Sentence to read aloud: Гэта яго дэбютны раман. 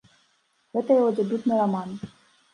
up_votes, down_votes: 2, 0